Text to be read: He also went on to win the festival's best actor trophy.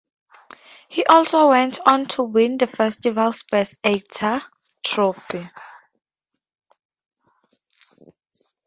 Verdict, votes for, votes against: accepted, 2, 0